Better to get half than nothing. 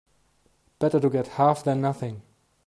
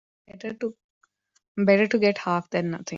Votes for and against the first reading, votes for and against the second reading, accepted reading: 2, 0, 0, 2, first